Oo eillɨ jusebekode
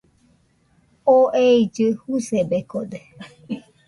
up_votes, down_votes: 1, 2